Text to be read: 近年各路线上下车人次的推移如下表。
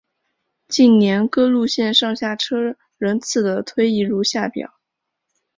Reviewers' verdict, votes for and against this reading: accepted, 3, 0